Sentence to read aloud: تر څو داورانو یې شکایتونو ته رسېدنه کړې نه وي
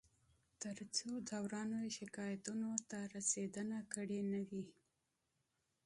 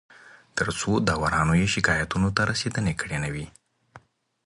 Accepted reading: second